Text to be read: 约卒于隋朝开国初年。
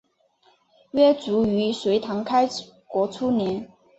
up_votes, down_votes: 2, 1